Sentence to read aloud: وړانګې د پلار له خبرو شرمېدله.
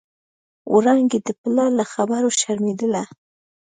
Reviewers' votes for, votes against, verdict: 3, 0, accepted